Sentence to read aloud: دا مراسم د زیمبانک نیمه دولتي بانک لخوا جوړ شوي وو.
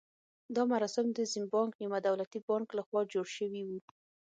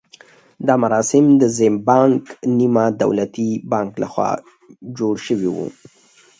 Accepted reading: second